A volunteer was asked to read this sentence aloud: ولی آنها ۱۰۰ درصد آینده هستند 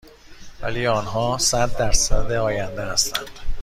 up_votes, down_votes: 0, 2